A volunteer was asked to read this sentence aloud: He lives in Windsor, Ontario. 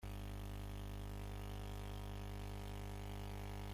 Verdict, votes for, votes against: rejected, 0, 2